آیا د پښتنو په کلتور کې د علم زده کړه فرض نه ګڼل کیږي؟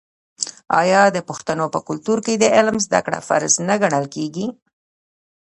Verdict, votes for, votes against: rejected, 1, 2